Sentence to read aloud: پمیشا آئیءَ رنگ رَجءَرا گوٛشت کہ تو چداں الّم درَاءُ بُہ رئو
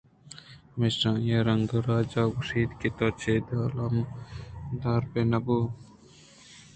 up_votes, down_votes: 2, 0